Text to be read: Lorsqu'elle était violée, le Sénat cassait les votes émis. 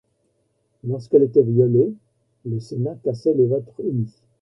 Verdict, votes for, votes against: accepted, 2, 0